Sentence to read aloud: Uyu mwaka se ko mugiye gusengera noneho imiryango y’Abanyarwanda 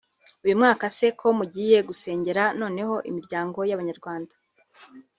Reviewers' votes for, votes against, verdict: 3, 0, accepted